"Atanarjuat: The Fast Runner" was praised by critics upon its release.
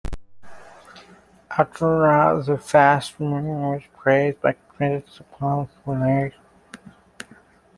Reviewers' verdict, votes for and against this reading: rejected, 0, 2